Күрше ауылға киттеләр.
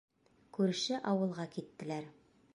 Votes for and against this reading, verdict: 1, 2, rejected